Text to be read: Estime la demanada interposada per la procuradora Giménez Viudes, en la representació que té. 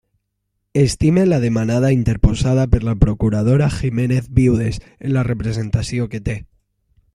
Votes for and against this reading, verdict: 2, 0, accepted